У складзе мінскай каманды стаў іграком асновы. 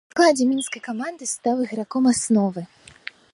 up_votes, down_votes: 1, 2